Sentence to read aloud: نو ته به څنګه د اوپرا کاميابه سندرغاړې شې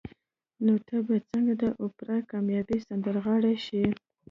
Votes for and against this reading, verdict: 0, 2, rejected